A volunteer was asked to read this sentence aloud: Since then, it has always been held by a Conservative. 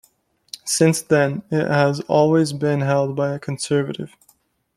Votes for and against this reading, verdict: 2, 0, accepted